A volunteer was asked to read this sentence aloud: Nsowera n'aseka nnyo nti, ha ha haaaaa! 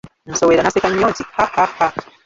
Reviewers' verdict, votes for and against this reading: rejected, 1, 2